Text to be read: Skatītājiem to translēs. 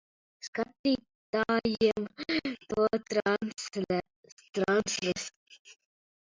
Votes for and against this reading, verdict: 0, 2, rejected